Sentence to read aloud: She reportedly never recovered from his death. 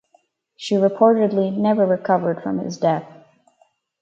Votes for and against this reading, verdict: 4, 0, accepted